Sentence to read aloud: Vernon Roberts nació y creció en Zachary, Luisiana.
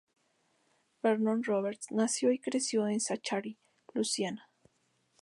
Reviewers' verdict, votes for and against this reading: rejected, 0, 2